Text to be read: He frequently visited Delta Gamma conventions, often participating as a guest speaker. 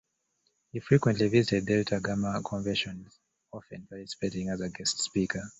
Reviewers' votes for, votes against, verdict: 2, 1, accepted